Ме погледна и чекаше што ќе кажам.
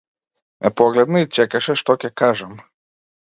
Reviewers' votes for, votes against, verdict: 2, 0, accepted